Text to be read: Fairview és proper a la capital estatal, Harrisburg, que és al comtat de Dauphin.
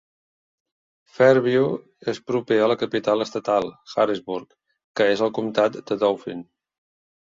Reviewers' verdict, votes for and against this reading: accepted, 2, 0